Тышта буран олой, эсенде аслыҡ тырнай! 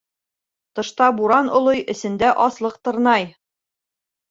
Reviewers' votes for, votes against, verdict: 2, 1, accepted